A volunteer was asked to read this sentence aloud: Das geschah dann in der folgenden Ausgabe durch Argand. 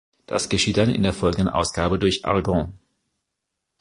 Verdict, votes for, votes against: rejected, 0, 2